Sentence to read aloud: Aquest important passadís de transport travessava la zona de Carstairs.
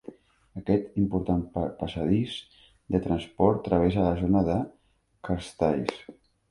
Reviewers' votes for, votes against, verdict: 2, 3, rejected